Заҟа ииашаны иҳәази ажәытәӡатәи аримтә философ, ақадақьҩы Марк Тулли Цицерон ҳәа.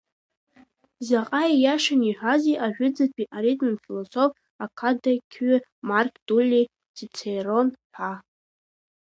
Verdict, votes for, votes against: rejected, 0, 2